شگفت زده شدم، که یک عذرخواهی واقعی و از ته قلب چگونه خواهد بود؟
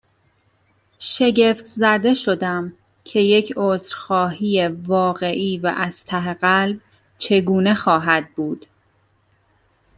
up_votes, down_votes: 2, 1